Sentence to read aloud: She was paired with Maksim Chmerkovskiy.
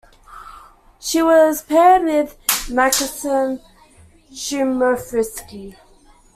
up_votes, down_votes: 0, 2